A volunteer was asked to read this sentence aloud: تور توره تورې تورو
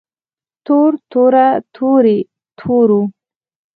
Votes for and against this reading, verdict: 2, 4, rejected